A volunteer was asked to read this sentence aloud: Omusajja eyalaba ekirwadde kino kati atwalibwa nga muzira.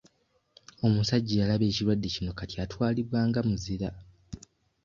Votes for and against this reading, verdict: 2, 0, accepted